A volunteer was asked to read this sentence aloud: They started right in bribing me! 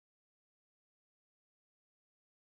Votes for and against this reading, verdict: 0, 2, rejected